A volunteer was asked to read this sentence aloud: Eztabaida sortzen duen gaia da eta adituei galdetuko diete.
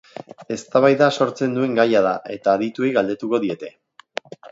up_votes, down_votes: 4, 0